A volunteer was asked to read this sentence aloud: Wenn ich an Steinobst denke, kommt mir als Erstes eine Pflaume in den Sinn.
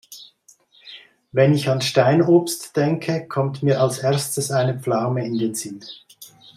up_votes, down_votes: 2, 0